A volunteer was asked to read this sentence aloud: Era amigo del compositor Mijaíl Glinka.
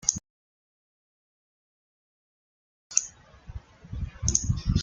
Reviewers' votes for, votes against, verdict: 0, 2, rejected